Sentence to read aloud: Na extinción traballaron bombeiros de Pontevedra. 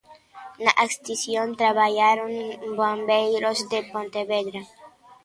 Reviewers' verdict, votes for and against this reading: rejected, 0, 2